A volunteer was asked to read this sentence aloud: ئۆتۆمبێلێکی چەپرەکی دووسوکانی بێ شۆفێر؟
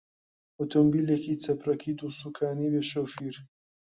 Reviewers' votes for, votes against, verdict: 0, 2, rejected